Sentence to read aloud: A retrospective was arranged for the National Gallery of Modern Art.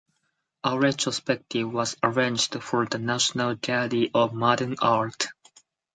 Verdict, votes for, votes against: accepted, 4, 0